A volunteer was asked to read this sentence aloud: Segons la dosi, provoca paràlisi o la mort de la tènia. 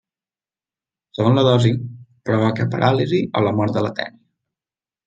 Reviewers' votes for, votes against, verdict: 1, 2, rejected